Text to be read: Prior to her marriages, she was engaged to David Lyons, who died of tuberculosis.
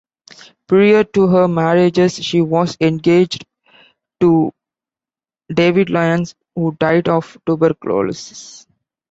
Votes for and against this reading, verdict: 0, 2, rejected